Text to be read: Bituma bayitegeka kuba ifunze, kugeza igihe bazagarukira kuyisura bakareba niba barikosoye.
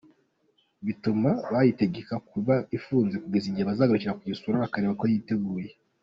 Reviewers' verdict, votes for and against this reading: rejected, 0, 2